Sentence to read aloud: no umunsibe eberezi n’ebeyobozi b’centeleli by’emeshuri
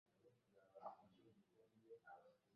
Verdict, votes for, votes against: rejected, 0, 2